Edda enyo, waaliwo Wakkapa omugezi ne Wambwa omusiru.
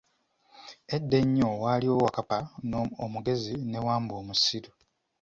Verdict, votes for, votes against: rejected, 1, 2